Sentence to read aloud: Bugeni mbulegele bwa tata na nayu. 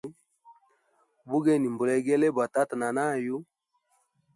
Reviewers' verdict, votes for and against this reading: accepted, 2, 0